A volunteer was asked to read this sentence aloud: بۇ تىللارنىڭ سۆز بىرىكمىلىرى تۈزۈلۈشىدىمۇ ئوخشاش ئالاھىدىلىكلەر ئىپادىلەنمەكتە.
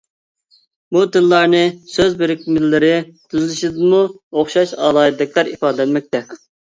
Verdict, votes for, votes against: rejected, 1, 2